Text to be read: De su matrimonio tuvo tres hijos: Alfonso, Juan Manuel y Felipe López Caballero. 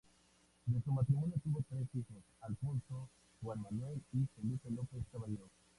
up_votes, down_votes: 0, 2